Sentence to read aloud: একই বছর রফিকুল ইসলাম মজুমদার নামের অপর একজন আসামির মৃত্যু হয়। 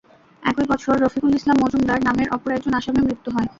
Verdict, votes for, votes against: rejected, 0, 2